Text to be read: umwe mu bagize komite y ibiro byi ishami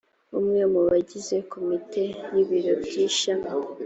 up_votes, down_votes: 2, 0